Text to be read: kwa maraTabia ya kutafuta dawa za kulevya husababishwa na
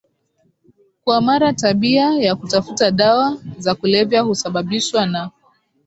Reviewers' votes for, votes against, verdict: 4, 0, accepted